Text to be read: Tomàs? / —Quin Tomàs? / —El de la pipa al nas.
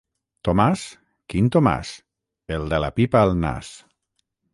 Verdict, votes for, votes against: accepted, 6, 0